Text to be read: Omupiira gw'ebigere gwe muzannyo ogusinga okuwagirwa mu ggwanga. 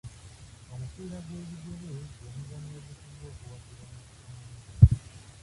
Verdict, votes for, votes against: rejected, 0, 2